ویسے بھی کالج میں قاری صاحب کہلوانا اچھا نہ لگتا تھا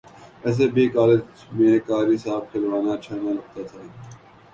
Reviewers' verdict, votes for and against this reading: rejected, 1, 2